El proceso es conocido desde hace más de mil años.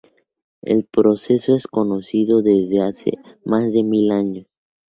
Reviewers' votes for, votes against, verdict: 2, 2, rejected